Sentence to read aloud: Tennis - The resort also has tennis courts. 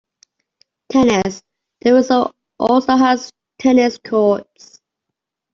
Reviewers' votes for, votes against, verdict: 2, 0, accepted